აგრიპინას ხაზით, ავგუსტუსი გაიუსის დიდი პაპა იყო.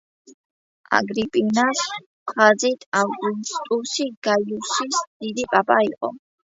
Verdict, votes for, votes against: rejected, 0, 2